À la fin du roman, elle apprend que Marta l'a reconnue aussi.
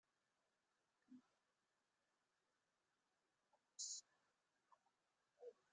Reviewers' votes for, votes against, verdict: 0, 2, rejected